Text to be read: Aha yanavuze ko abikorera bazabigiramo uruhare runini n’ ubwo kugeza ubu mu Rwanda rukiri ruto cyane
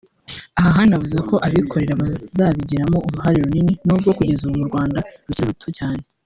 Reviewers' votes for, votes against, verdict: 2, 3, rejected